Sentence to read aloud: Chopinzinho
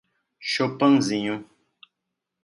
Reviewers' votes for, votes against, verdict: 0, 2, rejected